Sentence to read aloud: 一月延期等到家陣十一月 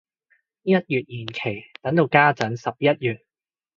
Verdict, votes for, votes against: accepted, 2, 0